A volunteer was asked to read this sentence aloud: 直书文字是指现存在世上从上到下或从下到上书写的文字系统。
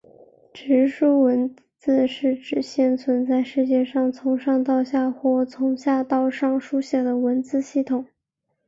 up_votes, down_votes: 1, 3